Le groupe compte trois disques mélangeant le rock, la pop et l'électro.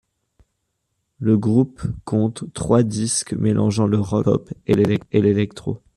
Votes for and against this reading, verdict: 1, 2, rejected